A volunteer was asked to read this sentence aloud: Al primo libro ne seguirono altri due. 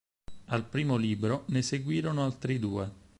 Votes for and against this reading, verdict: 4, 2, accepted